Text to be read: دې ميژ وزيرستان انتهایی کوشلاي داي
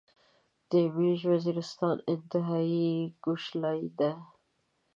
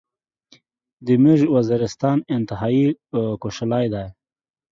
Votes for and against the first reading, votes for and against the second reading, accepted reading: 1, 2, 2, 0, second